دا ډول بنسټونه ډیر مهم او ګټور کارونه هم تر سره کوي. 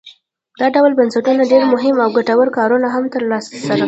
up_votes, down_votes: 0, 2